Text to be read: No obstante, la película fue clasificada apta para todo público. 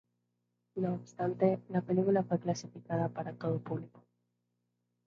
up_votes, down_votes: 0, 2